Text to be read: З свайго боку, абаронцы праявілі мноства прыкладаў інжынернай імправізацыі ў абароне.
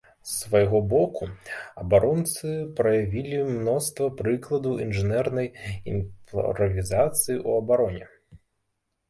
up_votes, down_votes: 0, 2